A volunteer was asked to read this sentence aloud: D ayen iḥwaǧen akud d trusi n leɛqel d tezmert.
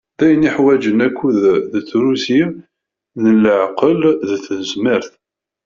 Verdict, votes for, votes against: rejected, 0, 2